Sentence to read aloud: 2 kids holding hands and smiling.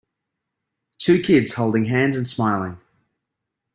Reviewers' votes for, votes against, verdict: 0, 2, rejected